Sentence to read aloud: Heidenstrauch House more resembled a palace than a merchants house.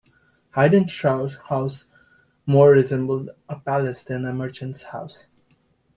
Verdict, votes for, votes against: rejected, 1, 2